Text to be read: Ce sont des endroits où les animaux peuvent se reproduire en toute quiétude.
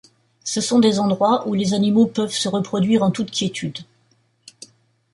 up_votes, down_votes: 2, 0